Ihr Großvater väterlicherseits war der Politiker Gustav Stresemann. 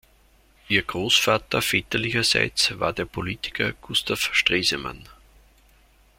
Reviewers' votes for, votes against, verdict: 2, 0, accepted